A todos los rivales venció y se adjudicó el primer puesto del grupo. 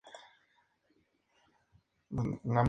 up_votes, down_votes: 0, 2